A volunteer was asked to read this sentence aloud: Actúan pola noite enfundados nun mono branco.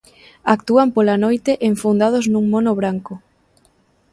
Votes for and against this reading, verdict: 2, 0, accepted